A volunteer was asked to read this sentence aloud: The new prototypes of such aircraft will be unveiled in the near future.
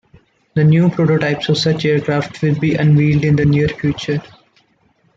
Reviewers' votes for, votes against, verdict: 2, 1, accepted